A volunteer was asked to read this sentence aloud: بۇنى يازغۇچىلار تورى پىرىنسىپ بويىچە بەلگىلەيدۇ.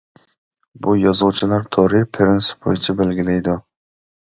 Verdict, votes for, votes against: rejected, 0, 2